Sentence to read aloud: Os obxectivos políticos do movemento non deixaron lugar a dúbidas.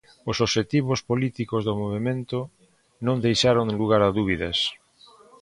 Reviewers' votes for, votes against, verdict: 2, 0, accepted